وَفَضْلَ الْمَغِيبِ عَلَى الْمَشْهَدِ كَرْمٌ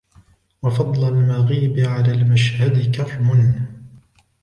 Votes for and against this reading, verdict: 2, 0, accepted